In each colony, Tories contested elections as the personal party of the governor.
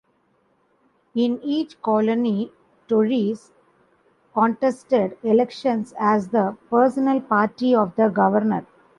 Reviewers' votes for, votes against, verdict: 2, 0, accepted